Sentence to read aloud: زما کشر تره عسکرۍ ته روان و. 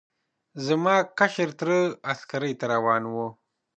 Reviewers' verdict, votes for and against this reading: accepted, 2, 1